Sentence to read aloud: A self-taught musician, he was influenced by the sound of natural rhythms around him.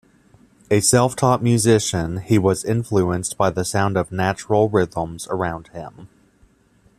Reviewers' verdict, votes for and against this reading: accepted, 2, 0